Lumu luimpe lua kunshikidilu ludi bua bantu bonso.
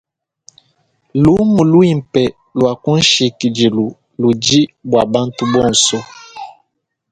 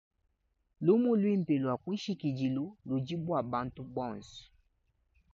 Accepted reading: second